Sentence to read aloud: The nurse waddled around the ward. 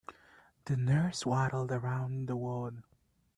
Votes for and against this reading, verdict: 3, 0, accepted